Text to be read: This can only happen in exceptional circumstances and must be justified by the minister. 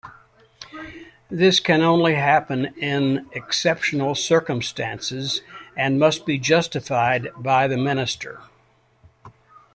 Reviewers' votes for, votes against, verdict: 2, 0, accepted